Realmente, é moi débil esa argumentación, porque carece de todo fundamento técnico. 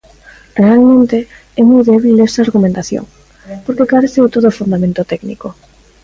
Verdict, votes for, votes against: rejected, 1, 2